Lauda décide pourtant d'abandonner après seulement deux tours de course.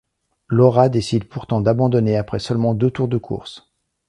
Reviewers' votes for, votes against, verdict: 0, 2, rejected